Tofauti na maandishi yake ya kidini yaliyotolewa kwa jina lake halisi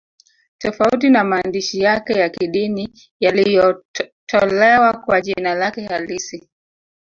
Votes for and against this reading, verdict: 2, 0, accepted